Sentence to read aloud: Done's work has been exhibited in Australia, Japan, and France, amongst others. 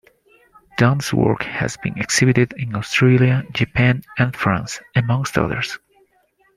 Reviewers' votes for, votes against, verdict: 2, 0, accepted